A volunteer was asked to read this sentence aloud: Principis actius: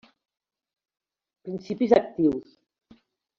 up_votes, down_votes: 1, 2